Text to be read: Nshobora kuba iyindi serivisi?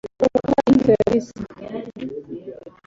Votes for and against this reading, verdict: 0, 2, rejected